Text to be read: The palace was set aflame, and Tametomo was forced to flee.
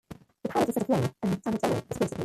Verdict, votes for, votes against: accepted, 2, 1